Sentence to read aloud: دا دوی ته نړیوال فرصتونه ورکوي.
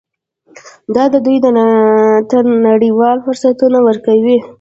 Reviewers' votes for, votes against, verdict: 0, 2, rejected